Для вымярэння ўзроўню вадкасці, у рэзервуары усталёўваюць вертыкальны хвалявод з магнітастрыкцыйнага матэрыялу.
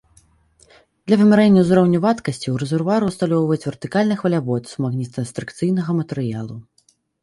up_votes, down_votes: 2, 1